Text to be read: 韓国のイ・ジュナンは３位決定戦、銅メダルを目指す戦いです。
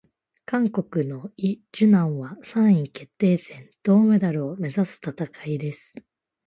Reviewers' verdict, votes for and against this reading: rejected, 0, 2